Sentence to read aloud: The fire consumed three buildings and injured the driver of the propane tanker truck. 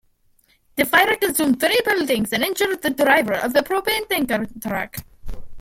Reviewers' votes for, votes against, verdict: 2, 1, accepted